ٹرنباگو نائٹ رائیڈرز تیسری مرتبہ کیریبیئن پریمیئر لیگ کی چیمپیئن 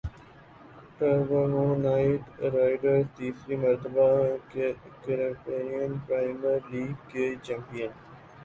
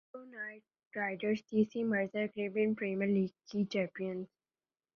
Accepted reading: first